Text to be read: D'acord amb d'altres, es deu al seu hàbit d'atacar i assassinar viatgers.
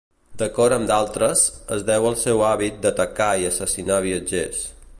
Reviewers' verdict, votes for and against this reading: accepted, 2, 0